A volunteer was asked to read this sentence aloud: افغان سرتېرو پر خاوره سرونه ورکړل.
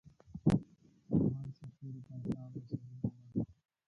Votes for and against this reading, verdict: 0, 2, rejected